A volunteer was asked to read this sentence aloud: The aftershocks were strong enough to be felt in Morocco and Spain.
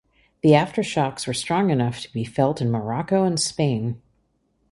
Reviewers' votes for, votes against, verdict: 3, 0, accepted